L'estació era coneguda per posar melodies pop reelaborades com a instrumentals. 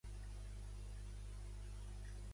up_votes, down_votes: 0, 2